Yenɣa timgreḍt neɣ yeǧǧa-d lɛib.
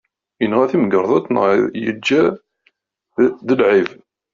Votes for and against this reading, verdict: 0, 2, rejected